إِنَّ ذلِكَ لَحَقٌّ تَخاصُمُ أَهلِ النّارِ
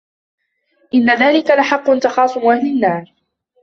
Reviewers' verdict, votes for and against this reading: accepted, 2, 1